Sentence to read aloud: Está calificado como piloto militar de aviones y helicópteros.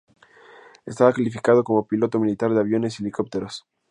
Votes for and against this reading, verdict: 0, 2, rejected